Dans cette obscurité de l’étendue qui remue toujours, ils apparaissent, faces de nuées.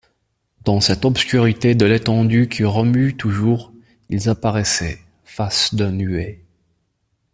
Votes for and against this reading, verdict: 0, 2, rejected